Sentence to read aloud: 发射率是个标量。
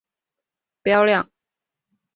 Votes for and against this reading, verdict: 0, 6, rejected